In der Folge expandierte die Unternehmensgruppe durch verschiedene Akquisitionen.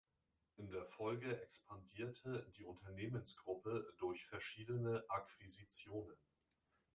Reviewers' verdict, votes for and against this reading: rejected, 1, 2